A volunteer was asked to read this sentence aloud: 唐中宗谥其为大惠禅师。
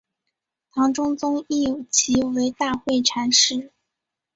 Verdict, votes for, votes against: rejected, 0, 2